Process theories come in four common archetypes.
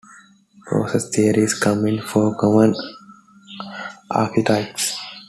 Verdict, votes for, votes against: accepted, 2, 0